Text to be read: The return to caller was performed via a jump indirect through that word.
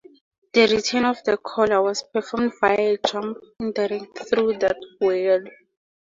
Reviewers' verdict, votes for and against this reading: accepted, 4, 2